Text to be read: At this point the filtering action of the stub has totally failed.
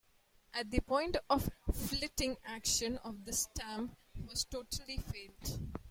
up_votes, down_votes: 0, 2